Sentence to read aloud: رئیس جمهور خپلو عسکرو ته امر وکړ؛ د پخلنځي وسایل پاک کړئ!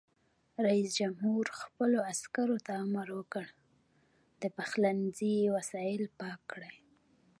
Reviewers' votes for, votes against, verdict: 0, 2, rejected